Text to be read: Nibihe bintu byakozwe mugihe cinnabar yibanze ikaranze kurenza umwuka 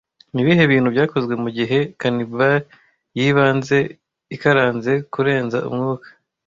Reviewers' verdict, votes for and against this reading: rejected, 1, 2